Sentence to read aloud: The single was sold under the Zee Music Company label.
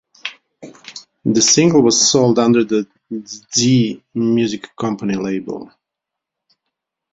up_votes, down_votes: 2, 0